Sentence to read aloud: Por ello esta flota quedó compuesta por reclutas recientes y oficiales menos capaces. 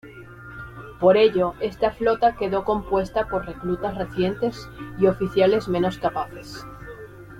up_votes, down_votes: 0, 2